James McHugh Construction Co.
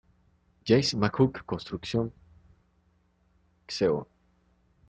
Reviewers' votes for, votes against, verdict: 0, 2, rejected